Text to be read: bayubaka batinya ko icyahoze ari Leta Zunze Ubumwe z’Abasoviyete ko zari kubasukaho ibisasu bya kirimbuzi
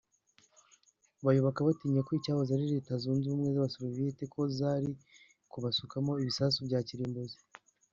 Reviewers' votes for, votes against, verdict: 0, 2, rejected